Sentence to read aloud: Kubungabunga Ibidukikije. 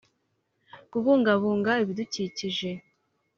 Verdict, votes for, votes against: accepted, 2, 0